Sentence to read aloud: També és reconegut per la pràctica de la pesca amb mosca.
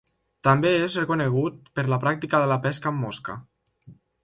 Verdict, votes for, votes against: rejected, 1, 2